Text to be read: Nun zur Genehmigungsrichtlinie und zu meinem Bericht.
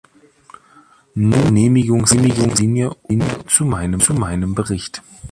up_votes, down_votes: 0, 2